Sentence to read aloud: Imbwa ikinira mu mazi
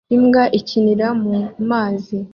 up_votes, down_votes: 2, 0